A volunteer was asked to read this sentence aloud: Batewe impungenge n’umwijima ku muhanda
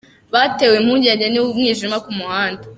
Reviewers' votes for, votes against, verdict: 2, 0, accepted